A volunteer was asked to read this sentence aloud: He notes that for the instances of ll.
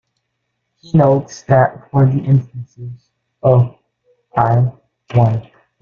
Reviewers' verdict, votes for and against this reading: rejected, 1, 2